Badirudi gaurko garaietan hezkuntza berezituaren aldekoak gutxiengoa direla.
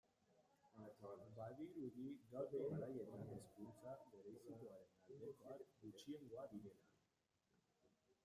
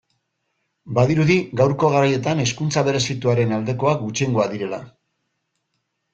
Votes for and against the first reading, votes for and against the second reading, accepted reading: 0, 2, 2, 0, second